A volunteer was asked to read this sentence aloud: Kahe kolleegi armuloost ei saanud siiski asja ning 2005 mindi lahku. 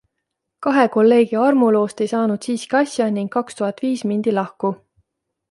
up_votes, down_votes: 0, 2